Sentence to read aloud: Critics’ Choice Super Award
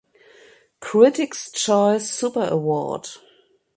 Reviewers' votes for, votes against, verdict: 2, 0, accepted